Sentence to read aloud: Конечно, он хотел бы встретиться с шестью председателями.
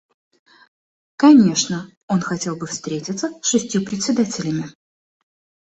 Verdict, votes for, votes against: accepted, 2, 0